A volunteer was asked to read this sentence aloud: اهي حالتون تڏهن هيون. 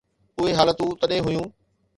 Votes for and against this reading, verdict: 2, 0, accepted